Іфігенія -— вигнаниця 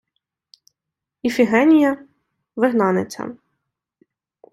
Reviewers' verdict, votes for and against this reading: accepted, 2, 0